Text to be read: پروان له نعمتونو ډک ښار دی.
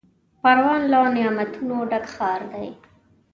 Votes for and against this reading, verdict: 2, 0, accepted